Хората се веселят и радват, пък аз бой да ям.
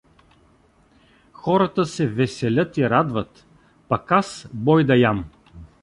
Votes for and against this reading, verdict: 2, 0, accepted